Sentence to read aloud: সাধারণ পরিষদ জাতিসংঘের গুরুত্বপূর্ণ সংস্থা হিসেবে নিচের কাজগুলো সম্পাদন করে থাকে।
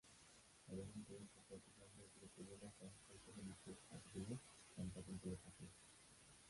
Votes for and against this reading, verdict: 0, 9, rejected